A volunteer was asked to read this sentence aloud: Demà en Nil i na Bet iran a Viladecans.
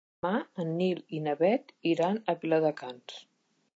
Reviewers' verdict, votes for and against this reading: rejected, 1, 2